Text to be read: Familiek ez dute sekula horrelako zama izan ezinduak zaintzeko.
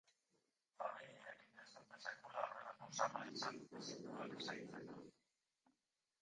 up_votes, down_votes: 0, 2